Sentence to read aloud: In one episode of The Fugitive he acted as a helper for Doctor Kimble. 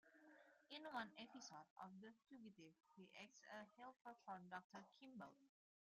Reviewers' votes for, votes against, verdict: 0, 2, rejected